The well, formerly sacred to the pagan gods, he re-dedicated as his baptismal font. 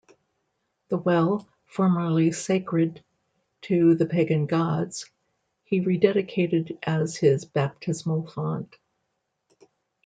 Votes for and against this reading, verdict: 2, 0, accepted